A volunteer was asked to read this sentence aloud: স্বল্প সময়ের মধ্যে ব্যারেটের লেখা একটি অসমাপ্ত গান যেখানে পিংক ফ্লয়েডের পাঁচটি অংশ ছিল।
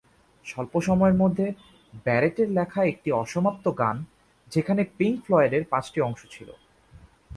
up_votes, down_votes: 3, 0